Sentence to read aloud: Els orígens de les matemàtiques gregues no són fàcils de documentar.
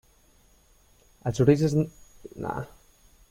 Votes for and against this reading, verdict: 0, 2, rejected